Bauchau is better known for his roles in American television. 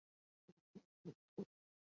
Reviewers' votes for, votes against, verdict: 0, 2, rejected